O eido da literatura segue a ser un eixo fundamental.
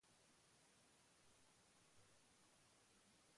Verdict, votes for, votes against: rejected, 0, 2